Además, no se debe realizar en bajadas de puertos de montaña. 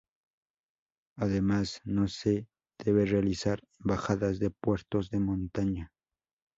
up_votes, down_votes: 0, 2